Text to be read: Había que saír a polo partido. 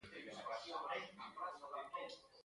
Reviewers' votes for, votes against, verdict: 0, 2, rejected